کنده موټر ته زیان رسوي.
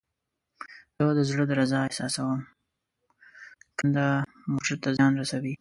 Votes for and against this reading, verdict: 0, 2, rejected